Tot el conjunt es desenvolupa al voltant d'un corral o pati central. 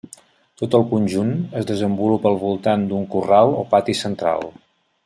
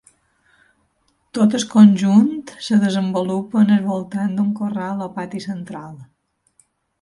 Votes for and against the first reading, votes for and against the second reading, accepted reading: 3, 0, 0, 2, first